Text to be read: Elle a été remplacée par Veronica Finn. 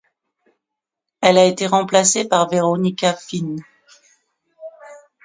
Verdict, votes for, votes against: accepted, 2, 0